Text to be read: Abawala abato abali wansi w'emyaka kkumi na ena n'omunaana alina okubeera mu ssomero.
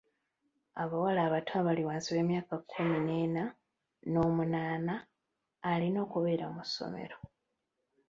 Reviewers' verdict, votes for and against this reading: rejected, 0, 2